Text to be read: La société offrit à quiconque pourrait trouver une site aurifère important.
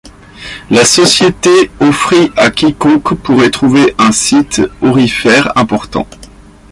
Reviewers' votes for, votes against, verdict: 2, 1, accepted